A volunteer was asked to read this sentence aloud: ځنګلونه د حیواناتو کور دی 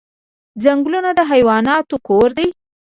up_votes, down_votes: 1, 2